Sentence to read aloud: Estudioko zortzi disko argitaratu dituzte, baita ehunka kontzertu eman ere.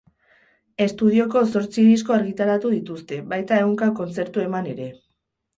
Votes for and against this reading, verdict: 8, 0, accepted